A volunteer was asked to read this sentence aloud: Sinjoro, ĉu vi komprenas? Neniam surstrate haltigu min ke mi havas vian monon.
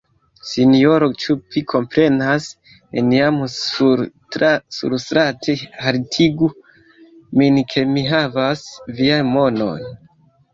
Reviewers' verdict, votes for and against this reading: rejected, 0, 2